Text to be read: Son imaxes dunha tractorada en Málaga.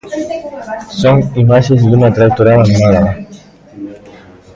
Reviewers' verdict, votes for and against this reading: rejected, 0, 2